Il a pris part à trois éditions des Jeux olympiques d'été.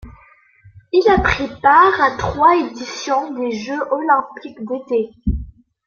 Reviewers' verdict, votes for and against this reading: rejected, 1, 2